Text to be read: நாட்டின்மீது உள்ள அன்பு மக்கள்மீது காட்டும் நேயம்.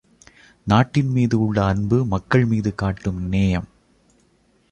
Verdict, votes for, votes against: accepted, 2, 0